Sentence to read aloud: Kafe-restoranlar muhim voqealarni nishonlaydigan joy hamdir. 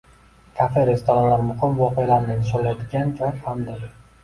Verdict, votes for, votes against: rejected, 0, 2